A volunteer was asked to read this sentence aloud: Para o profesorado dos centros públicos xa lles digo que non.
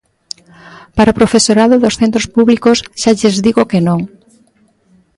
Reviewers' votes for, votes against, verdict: 2, 0, accepted